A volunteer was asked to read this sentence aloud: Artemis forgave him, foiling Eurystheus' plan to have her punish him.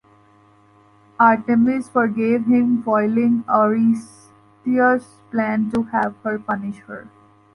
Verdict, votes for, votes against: rejected, 0, 2